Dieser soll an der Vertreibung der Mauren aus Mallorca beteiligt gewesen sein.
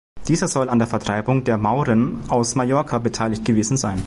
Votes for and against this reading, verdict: 2, 0, accepted